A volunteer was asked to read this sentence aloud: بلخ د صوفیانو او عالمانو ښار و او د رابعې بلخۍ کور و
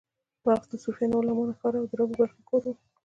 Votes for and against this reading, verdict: 2, 0, accepted